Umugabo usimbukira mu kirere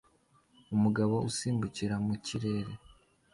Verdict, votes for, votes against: accepted, 2, 0